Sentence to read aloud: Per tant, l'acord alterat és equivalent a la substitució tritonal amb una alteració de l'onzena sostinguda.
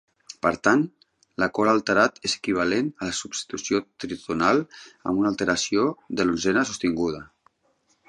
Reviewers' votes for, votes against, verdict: 0, 2, rejected